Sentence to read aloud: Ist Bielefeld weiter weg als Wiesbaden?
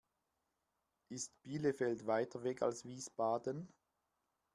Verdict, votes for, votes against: accepted, 2, 0